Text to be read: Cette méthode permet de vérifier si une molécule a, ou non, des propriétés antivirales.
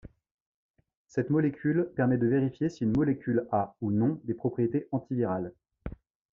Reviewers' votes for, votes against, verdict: 0, 2, rejected